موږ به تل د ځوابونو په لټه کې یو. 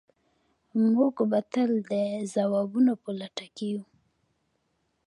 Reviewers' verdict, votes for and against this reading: rejected, 1, 2